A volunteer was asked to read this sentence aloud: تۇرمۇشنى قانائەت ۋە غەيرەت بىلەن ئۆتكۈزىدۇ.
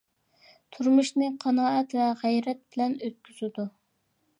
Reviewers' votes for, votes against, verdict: 2, 0, accepted